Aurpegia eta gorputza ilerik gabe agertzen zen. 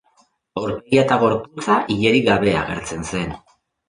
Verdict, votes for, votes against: rejected, 0, 2